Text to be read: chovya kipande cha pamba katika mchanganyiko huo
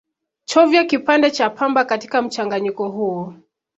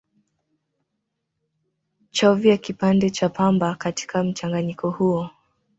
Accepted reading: first